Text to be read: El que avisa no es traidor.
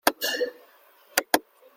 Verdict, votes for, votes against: rejected, 0, 2